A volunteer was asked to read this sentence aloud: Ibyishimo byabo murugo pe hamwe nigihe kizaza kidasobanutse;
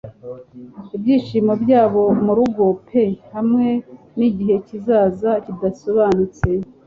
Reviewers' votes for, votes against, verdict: 2, 0, accepted